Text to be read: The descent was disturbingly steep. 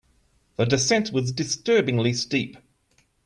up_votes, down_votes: 2, 0